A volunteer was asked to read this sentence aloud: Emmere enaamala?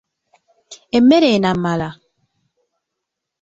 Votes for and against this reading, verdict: 1, 2, rejected